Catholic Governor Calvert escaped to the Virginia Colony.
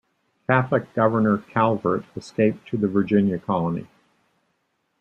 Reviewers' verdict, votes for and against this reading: accepted, 2, 0